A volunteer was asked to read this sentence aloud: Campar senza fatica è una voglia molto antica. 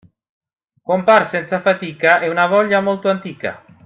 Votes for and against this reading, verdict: 0, 3, rejected